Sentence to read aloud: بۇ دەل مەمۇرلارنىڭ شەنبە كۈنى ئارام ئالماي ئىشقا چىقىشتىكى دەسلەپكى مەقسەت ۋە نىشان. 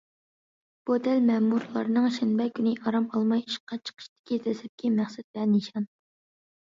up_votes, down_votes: 2, 0